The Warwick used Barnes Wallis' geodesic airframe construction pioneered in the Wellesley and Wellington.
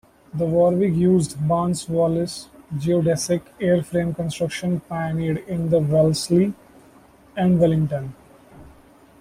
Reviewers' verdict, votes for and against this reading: rejected, 1, 2